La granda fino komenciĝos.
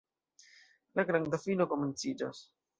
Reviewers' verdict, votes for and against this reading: accepted, 2, 0